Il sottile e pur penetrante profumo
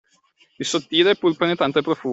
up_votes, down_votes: 0, 2